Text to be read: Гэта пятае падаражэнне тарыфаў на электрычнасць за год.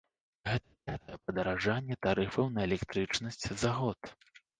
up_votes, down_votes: 0, 2